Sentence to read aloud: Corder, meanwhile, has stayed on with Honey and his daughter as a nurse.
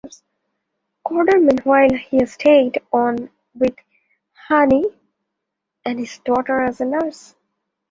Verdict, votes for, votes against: accepted, 2, 0